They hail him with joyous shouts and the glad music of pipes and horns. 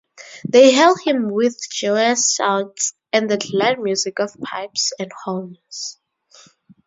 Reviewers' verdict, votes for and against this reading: accepted, 4, 0